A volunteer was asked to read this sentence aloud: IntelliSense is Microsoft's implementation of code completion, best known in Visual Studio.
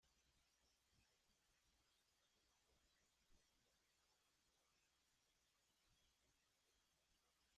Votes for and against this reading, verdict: 1, 2, rejected